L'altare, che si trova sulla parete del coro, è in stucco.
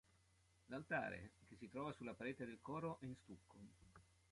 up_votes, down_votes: 2, 1